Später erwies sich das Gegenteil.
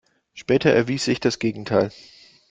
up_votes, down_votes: 2, 0